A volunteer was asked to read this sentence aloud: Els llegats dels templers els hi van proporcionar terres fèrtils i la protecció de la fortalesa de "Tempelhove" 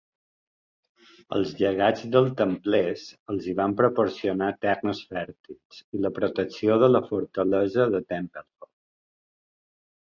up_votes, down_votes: 1, 2